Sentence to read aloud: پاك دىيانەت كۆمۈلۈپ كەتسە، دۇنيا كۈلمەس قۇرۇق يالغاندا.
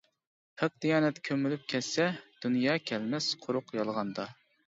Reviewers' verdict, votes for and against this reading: rejected, 1, 2